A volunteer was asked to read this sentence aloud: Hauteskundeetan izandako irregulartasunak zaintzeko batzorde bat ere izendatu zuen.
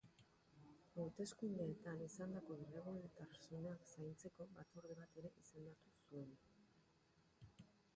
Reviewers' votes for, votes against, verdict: 0, 2, rejected